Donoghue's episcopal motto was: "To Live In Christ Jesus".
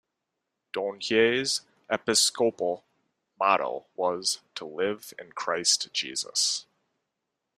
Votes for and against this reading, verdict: 1, 2, rejected